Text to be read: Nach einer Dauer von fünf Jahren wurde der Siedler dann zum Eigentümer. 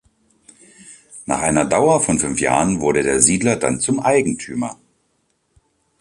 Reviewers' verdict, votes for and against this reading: accepted, 4, 0